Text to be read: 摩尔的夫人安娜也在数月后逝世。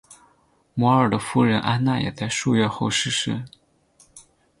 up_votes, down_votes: 4, 0